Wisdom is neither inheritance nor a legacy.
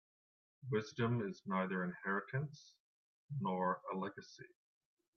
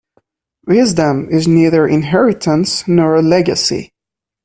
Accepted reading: second